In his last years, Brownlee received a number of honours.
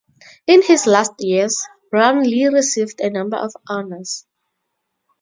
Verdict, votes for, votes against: accepted, 2, 0